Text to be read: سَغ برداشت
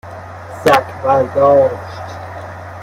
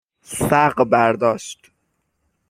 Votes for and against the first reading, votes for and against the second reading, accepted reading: 1, 2, 6, 0, second